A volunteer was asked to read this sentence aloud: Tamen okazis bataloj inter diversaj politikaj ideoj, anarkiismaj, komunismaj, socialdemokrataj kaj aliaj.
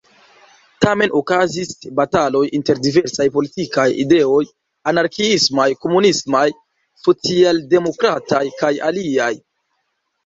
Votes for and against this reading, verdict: 2, 0, accepted